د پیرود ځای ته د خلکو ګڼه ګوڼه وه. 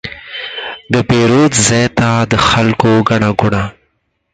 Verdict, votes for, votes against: rejected, 2, 4